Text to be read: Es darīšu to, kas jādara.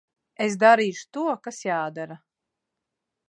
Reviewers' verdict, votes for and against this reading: accepted, 2, 0